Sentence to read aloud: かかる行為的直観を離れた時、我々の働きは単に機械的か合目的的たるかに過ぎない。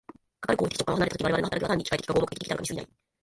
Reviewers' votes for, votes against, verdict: 2, 1, accepted